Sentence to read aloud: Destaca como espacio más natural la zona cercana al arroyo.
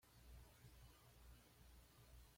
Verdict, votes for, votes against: rejected, 1, 2